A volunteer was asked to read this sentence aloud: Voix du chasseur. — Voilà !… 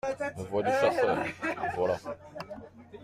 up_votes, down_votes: 2, 0